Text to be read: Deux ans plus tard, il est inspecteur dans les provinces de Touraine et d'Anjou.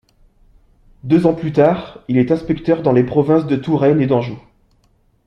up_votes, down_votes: 2, 0